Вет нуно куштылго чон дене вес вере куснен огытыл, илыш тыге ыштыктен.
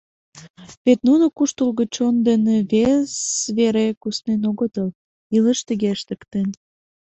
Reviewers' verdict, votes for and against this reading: rejected, 1, 2